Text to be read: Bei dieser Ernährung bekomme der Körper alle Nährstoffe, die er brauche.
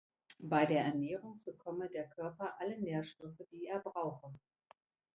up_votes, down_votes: 0, 2